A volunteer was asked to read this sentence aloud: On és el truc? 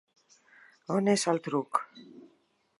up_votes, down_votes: 4, 0